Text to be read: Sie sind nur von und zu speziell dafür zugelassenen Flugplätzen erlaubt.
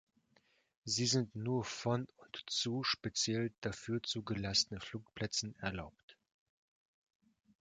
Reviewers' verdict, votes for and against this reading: rejected, 0, 2